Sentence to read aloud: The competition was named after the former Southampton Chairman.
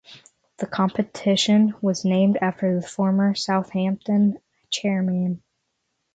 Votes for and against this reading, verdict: 6, 0, accepted